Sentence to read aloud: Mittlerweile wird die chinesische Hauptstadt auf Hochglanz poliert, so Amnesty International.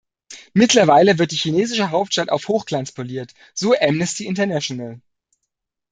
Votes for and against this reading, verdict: 2, 0, accepted